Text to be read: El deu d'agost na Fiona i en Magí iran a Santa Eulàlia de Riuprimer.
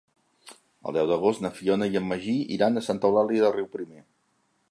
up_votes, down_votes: 2, 0